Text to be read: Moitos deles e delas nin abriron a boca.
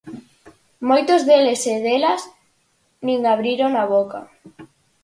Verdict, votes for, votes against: accepted, 8, 0